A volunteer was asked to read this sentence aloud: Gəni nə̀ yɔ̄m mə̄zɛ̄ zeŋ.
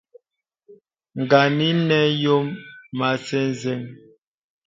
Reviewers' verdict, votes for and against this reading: rejected, 0, 2